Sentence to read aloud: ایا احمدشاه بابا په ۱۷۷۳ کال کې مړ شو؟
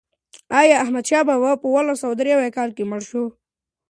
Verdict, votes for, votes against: rejected, 0, 2